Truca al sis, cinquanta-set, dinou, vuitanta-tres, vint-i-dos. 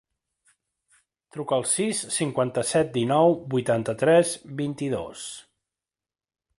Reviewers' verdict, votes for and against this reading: accepted, 3, 0